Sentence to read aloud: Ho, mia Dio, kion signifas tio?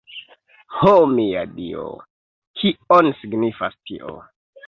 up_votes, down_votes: 2, 0